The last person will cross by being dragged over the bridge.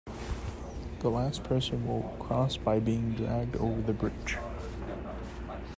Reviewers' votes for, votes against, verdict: 2, 0, accepted